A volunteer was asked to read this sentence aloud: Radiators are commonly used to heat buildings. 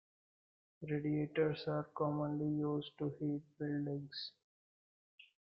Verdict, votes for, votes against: rejected, 0, 2